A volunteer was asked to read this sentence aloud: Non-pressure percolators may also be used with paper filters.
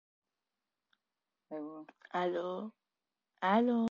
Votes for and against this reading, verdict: 1, 2, rejected